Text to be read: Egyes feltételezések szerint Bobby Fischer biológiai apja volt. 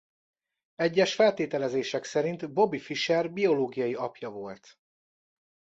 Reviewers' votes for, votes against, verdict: 2, 0, accepted